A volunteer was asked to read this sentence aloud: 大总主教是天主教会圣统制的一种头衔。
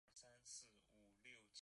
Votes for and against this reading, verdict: 1, 5, rejected